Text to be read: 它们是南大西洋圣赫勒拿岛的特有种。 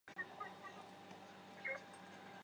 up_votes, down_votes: 2, 7